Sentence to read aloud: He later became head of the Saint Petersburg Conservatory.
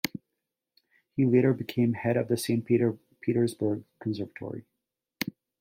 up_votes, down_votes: 0, 2